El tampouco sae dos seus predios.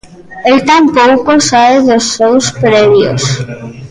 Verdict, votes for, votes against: rejected, 0, 2